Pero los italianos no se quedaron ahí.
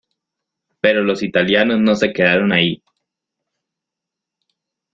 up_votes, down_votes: 1, 2